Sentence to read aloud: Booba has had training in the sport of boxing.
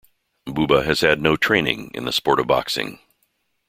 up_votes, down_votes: 0, 2